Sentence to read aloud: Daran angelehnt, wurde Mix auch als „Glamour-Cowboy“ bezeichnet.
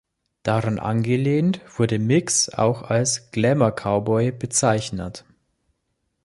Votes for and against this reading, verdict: 2, 0, accepted